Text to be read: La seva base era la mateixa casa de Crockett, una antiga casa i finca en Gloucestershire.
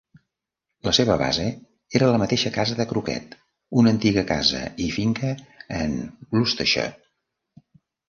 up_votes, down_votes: 0, 2